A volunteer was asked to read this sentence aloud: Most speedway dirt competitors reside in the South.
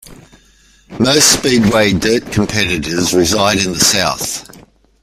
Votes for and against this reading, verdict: 2, 1, accepted